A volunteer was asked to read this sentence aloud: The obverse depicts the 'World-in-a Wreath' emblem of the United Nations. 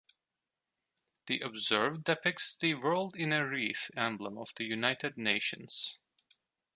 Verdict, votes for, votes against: rejected, 1, 2